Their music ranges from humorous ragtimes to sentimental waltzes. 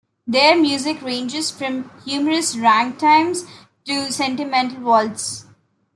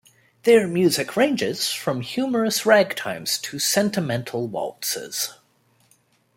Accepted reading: second